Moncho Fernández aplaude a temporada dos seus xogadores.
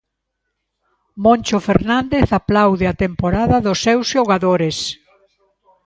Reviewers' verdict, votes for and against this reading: accepted, 2, 0